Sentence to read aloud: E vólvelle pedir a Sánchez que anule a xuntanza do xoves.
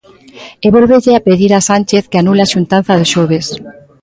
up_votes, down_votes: 2, 0